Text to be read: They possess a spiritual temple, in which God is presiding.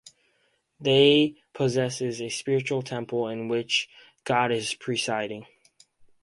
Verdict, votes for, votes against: rejected, 2, 2